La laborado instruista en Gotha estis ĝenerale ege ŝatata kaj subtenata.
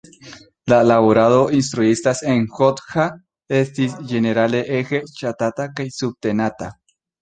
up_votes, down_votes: 0, 2